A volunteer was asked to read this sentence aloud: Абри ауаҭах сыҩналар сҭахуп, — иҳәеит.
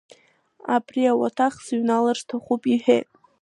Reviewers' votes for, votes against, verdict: 2, 1, accepted